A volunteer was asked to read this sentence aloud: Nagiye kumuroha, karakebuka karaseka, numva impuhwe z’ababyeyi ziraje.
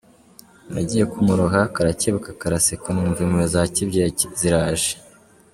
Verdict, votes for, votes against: rejected, 1, 2